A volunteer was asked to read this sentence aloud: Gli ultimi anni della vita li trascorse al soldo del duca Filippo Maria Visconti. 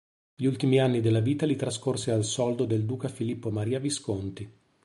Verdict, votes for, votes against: accepted, 2, 0